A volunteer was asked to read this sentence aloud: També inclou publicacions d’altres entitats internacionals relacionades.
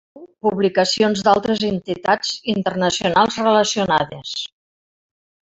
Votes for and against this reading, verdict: 0, 2, rejected